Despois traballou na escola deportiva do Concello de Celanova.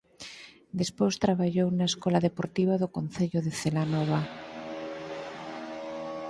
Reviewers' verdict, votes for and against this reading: accepted, 4, 0